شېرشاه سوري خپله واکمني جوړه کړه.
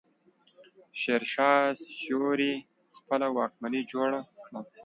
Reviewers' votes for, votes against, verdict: 1, 2, rejected